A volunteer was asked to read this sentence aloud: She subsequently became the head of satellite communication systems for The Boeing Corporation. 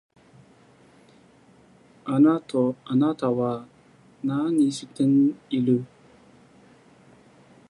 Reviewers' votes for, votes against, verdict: 0, 2, rejected